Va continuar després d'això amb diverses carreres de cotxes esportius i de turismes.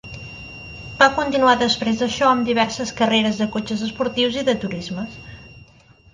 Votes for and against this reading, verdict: 1, 2, rejected